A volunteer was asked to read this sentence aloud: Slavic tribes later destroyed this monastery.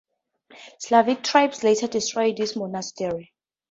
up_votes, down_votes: 4, 0